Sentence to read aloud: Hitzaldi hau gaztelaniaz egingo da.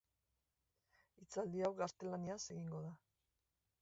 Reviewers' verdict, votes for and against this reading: rejected, 1, 2